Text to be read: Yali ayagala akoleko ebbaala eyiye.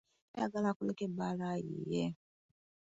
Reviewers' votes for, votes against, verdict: 1, 2, rejected